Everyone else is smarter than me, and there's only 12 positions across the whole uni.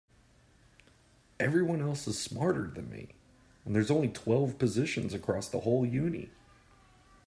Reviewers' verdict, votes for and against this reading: rejected, 0, 2